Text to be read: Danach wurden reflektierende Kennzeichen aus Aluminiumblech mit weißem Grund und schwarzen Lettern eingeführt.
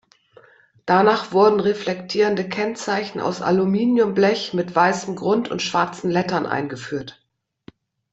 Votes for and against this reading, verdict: 2, 0, accepted